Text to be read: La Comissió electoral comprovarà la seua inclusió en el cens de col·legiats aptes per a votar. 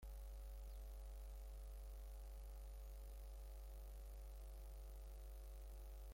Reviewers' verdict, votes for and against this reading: rejected, 0, 2